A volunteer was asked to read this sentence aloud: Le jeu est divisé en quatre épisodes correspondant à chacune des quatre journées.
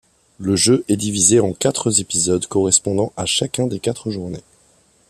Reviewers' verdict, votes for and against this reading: rejected, 1, 2